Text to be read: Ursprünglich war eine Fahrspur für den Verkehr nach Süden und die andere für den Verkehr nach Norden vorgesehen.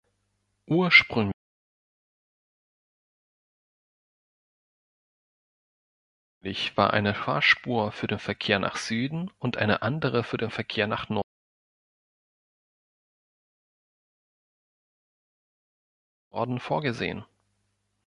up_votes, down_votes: 0, 2